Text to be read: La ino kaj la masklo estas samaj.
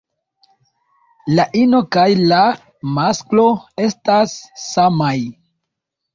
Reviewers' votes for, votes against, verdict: 2, 0, accepted